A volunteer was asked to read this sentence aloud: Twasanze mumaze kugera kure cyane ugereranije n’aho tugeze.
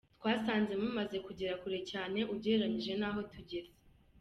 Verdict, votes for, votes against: accepted, 2, 0